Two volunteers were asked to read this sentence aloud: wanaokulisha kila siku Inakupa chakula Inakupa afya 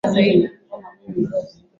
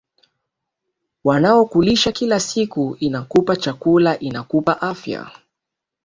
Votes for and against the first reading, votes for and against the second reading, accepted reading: 0, 6, 3, 1, second